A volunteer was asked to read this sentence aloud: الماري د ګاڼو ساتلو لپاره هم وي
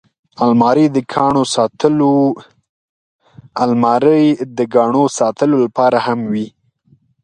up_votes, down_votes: 1, 2